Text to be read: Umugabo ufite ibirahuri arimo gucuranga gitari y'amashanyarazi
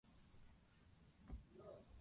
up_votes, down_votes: 0, 2